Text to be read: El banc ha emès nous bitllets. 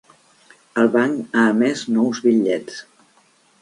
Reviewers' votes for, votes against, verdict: 3, 0, accepted